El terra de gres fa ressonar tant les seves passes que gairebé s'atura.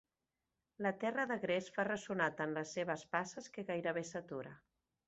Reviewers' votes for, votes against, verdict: 1, 3, rejected